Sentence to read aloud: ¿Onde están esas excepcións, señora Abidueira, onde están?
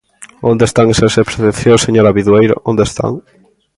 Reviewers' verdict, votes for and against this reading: rejected, 1, 2